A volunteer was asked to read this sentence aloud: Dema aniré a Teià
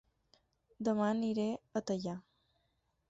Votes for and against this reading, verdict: 4, 0, accepted